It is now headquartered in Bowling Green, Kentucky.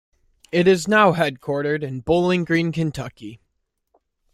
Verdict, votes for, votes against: accepted, 2, 0